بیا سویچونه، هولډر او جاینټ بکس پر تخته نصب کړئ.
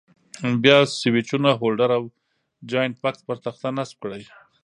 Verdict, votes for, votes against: rejected, 0, 2